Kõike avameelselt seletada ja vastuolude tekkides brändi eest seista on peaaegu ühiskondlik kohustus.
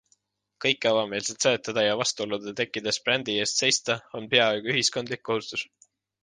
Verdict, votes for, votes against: accepted, 2, 0